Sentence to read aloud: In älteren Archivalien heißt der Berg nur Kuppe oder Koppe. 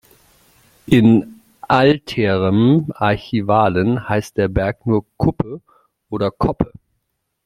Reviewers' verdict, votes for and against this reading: rejected, 0, 3